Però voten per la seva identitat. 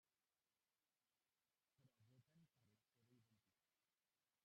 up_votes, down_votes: 0, 2